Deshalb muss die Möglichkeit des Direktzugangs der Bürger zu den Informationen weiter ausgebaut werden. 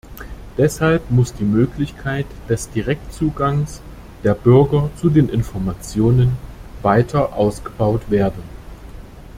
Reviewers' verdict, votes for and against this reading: accepted, 2, 0